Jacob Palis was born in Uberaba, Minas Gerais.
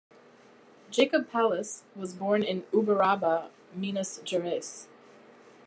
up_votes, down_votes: 2, 0